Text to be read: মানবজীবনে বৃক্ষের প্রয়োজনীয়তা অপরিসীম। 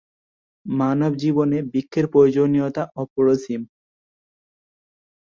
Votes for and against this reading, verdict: 1, 2, rejected